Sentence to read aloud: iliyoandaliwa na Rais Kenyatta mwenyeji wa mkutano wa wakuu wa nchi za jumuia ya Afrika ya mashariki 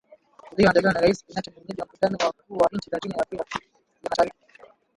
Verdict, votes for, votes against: rejected, 0, 6